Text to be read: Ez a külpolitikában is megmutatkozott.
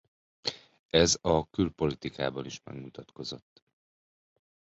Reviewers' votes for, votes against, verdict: 2, 0, accepted